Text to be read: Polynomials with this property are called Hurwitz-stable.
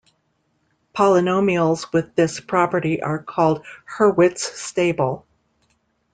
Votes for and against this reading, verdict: 2, 1, accepted